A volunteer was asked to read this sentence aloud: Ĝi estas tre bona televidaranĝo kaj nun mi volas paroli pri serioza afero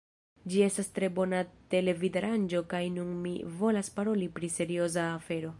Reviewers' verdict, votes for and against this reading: rejected, 1, 2